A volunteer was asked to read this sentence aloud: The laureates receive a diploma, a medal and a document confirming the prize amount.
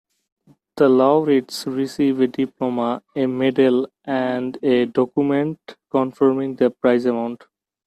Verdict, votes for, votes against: accepted, 2, 0